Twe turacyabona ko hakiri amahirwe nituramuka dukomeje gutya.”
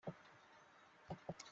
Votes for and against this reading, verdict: 0, 2, rejected